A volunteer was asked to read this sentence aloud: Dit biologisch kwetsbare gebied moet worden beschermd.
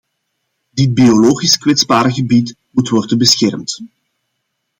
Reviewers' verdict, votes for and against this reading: accepted, 2, 0